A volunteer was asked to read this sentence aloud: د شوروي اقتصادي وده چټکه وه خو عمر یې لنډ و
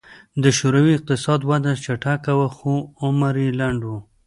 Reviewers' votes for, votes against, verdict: 2, 0, accepted